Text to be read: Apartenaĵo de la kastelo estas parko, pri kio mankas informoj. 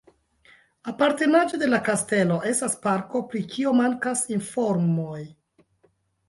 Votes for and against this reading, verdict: 1, 2, rejected